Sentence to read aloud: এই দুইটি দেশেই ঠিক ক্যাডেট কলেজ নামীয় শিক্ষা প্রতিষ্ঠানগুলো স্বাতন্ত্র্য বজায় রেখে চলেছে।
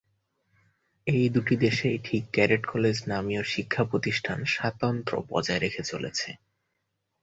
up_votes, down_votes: 0, 2